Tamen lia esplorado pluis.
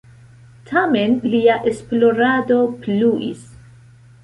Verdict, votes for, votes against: accepted, 2, 0